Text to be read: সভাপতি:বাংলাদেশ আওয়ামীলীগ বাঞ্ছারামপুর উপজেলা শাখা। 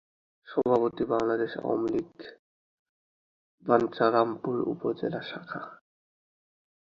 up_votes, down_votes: 4, 2